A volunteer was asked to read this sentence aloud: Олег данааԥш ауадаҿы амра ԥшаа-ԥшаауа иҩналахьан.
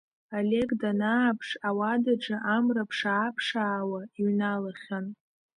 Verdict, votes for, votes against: accepted, 2, 0